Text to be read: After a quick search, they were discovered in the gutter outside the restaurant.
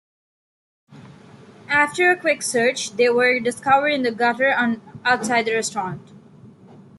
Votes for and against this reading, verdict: 2, 0, accepted